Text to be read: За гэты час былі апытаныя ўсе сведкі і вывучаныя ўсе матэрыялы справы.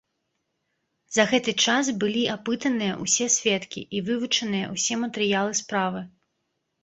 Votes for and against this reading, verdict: 0, 2, rejected